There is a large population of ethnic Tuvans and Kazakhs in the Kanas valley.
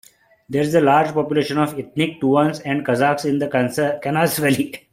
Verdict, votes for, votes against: rejected, 1, 2